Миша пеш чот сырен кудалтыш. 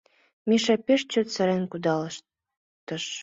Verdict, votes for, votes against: rejected, 0, 2